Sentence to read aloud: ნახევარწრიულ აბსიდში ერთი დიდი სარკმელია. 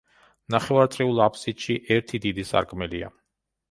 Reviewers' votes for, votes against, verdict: 2, 0, accepted